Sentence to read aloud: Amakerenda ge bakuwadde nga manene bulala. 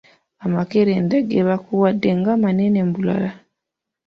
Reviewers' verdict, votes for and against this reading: accepted, 2, 0